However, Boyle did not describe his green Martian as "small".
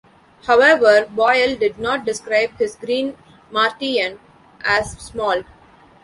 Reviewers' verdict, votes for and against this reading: rejected, 0, 2